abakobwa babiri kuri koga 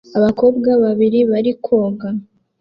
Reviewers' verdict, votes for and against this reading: rejected, 0, 2